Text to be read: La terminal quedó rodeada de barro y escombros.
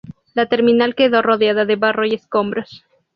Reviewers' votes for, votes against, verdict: 4, 0, accepted